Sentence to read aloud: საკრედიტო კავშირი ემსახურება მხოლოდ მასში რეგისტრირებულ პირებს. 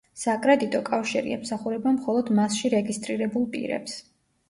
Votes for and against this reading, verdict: 2, 0, accepted